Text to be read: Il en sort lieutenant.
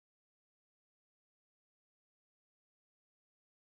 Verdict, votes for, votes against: rejected, 1, 2